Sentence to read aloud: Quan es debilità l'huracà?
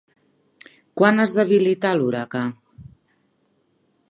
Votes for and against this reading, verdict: 3, 0, accepted